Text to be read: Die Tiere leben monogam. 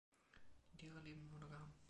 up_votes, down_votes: 1, 2